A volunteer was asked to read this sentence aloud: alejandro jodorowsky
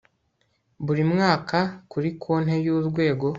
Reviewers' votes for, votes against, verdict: 1, 2, rejected